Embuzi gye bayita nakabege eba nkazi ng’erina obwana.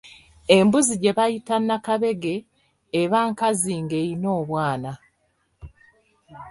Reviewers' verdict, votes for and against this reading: rejected, 1, 2